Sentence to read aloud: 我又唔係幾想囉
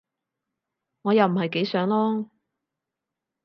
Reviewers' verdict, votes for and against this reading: accepted, 6, 0